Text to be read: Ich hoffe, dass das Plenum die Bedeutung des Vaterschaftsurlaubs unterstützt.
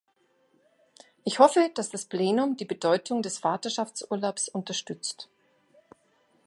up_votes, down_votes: 2, 0